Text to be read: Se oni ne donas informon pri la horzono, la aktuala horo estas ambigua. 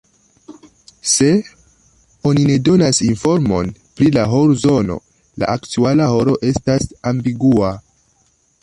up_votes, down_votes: 1, 3